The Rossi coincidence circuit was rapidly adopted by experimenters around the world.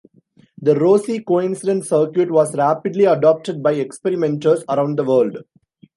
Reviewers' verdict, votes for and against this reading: accepted, 2, 0